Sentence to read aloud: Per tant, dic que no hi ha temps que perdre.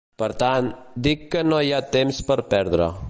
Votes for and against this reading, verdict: 0, 2, rejected